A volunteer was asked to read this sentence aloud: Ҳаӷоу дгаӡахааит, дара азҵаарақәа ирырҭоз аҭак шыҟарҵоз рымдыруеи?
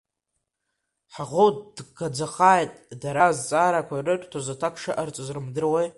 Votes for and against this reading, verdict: 0, 2, rejected